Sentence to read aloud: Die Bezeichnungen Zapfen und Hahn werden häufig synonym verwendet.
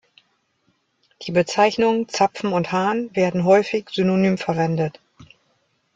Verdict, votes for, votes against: accepted, 2, 1